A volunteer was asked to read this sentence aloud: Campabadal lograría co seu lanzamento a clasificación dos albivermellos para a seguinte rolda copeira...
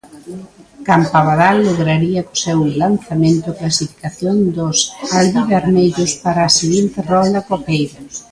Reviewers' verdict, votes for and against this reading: rejected, 1, 2